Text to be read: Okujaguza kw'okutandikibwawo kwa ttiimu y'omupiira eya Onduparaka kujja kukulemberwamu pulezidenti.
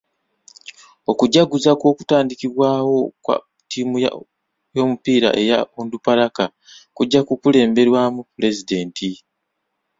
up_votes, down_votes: 1, 2